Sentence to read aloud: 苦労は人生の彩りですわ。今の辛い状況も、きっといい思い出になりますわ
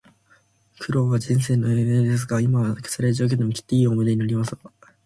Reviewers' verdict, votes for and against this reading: rejected, 0, 2